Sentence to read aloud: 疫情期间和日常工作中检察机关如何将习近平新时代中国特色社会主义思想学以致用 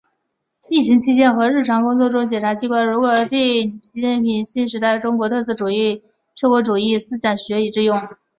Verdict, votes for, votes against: rejected, 0, 2